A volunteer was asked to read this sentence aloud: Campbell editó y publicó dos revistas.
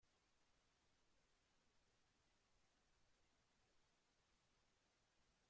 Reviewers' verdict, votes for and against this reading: rejected, 0, 3